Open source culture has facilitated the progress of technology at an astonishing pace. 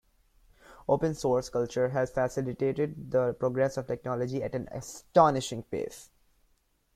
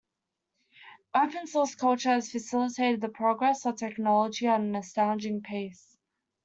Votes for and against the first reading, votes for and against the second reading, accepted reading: 1, 2, 2, 0, second